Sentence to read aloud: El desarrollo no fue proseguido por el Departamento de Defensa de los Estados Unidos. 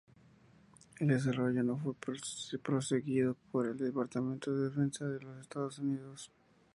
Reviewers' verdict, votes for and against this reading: rejected, 2, 4